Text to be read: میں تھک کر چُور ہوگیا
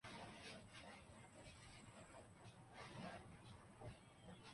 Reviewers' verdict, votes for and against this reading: rejected, 0, 2